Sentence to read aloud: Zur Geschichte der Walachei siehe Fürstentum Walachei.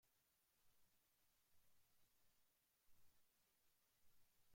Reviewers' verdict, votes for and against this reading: rejected, 0, 2